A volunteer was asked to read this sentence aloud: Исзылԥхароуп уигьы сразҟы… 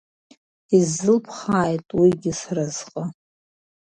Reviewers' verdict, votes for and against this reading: rejected, 1, 2